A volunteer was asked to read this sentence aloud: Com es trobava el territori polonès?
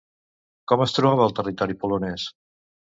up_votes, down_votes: 2, 0